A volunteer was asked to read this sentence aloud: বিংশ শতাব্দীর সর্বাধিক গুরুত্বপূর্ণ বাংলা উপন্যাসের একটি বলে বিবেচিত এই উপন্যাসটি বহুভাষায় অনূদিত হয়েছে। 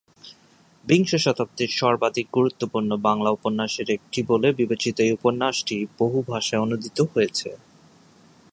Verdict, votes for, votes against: accepted, 3, 0